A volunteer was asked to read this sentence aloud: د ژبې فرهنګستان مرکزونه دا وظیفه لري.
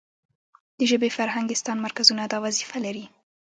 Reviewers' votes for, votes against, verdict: 1, 2, rejected